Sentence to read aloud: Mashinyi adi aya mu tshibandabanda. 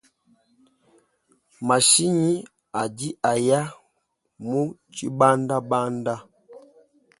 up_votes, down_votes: 2, 0